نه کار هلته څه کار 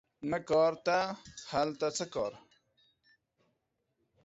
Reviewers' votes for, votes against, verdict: 0, 2, rejected